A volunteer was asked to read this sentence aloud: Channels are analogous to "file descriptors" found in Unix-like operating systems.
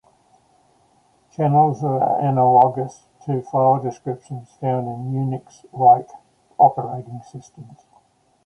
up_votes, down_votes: 2, 0